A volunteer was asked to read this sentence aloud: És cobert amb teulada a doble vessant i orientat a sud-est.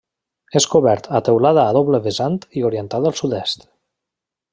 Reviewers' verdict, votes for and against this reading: rejected, 0, 2